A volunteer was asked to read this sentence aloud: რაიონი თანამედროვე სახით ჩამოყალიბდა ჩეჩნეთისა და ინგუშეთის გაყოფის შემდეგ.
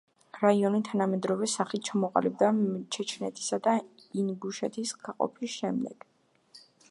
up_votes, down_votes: 1, 2